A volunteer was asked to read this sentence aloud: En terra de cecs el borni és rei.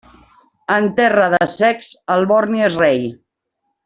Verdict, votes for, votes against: accepted, 2, 0